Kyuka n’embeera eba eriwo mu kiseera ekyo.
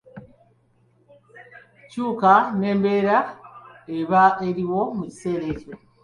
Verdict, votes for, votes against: accepted, 3, 0